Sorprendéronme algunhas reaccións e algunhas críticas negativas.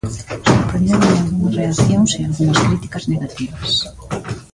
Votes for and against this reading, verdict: 0, 2, rejected